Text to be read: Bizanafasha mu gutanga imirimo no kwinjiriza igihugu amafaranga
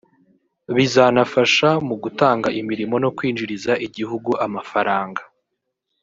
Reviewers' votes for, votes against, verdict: 0, 2, rejected